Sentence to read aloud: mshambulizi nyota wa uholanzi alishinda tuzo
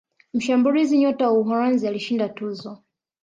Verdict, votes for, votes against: rejected, 1, 2